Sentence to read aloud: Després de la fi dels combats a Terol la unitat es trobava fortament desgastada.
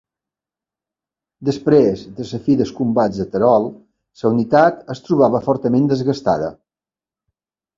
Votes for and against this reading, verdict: 1, 2, rejected